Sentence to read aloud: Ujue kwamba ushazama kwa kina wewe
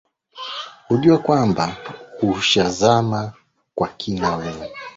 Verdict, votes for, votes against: accepted, 2, 1